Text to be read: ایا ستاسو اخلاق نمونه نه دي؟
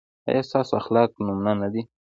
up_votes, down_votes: 2, 0